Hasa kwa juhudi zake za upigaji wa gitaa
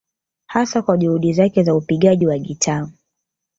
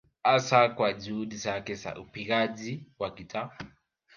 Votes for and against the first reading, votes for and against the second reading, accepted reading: 2, 0, 0, 2, first